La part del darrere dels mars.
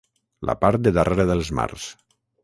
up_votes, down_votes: 3, 6